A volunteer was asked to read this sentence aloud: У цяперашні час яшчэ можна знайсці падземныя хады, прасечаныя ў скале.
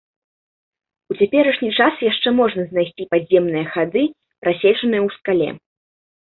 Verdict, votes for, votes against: accepted, 2, 0